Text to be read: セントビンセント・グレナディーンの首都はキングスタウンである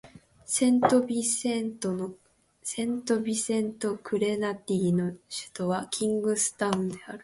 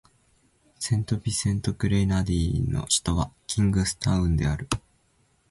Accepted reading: second